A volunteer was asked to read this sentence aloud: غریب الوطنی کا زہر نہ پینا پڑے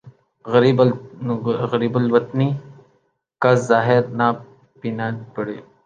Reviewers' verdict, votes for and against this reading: rejected, 0, 3